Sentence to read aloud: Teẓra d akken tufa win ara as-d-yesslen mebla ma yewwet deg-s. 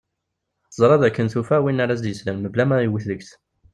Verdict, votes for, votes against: rejected, 0, 2